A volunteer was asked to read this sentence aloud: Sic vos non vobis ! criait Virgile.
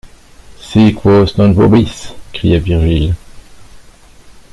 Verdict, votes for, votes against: accepted, 2, 0